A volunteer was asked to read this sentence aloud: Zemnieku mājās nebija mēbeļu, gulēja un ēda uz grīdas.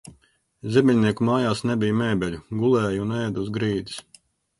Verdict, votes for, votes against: rejected, 0, 2